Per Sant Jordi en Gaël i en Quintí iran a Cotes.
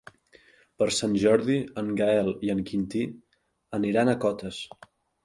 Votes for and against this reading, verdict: 0, 2, rejected